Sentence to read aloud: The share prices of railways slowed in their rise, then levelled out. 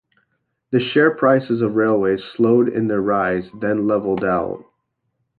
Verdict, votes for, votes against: accepted, 2, 0